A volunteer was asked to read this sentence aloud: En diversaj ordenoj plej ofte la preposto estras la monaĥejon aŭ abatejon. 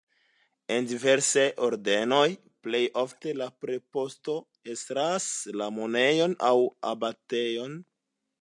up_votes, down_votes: 2, 0